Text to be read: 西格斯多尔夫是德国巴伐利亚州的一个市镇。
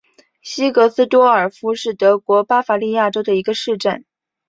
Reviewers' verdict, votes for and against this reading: accepted, 2, 0